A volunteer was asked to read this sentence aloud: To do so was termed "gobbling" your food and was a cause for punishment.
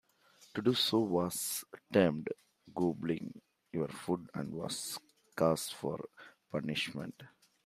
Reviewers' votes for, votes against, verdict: 2, 1, accepted